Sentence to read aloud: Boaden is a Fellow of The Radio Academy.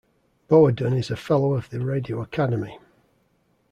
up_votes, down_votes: 2, 0